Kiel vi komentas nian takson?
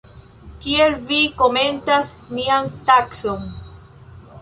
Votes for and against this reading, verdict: 0, 2, rejected